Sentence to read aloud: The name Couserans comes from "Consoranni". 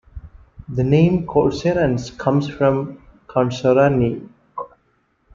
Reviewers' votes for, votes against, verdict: 2, 0, accepted